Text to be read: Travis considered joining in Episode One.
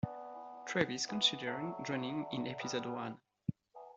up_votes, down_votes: 1, 2